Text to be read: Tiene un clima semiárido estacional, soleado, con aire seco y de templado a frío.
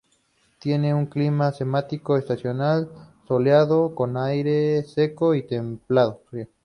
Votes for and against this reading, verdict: 0, 4, rejected